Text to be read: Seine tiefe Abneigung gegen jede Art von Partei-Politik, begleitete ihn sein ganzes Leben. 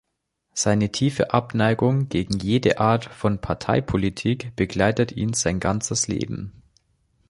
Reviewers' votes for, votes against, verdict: 2, 3, rejected